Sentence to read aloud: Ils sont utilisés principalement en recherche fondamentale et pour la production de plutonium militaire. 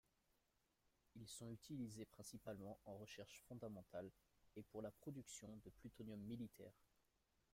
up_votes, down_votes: 2, 1